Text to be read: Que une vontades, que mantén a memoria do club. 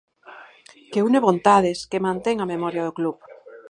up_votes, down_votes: 2, 4